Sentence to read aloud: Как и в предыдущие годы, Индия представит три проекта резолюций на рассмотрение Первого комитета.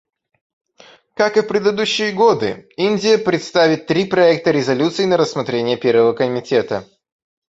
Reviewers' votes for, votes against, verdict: 1, 2, rejected